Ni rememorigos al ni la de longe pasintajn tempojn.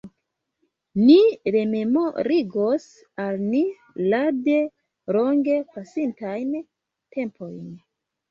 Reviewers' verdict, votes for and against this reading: rejected, 1, 2